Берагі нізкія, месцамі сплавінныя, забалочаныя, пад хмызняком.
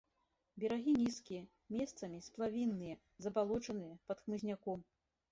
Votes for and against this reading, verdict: 2, 0, accepted